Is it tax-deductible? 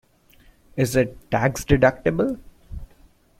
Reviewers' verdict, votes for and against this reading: accepted, 2, 0